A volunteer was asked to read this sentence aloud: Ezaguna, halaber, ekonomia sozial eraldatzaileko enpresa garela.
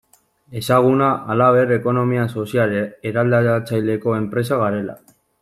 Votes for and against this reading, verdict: 0, 2, rejected